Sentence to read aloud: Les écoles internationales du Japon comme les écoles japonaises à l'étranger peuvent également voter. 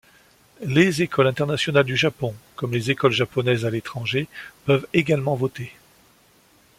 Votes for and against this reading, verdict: 2, 0, accepted